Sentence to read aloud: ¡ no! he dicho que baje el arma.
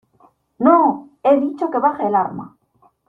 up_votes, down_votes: 2, 0